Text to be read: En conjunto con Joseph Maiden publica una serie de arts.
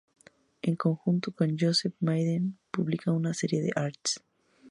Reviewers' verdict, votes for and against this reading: accepted, 2, 0